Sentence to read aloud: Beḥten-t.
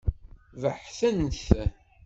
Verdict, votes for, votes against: rejected, 1, 2